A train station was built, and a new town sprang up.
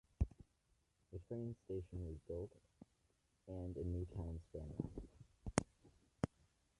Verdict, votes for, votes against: rejected, 1, 2